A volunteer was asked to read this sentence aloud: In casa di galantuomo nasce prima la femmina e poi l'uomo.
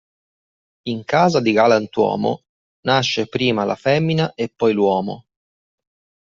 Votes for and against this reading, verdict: 2, 0, accepted